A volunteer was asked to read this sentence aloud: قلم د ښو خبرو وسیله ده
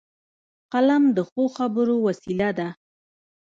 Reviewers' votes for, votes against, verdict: 1, 2, rejected